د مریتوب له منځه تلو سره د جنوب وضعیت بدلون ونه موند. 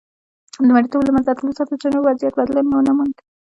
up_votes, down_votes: 2, 1